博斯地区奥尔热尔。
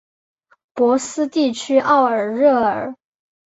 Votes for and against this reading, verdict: 2, 0, accepted